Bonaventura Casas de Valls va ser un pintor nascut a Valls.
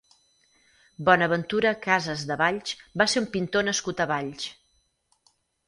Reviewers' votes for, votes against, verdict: 4, 2, accepted